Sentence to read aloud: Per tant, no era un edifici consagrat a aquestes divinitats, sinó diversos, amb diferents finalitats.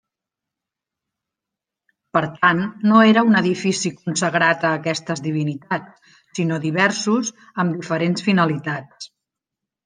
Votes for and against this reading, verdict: 3, 0, accepted